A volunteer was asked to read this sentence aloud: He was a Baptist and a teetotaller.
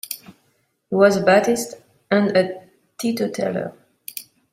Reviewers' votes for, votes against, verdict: 0, 2, rejected